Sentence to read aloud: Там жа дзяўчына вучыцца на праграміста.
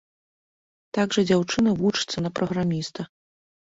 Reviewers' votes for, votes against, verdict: 0, 2, rejected